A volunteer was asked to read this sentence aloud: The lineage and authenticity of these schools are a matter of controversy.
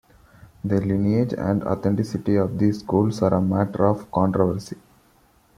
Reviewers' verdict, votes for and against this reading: accepted, 2, 0